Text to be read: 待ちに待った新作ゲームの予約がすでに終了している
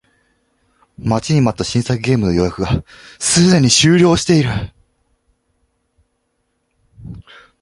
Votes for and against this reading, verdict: 2, 0, accepted